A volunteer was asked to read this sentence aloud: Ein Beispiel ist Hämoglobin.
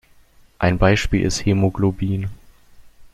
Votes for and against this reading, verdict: 2, 0, accepted